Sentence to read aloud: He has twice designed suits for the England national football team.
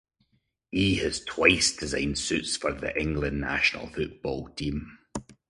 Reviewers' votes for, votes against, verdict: 2, 0, accepted